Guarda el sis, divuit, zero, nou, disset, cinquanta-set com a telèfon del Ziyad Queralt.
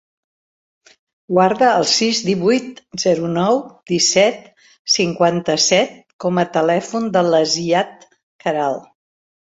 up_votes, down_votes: 1, 2